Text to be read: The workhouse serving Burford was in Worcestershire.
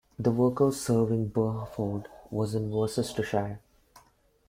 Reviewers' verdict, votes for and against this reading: rejected, 1, 2